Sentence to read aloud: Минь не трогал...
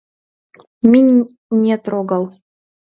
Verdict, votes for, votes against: accepted, 2, 0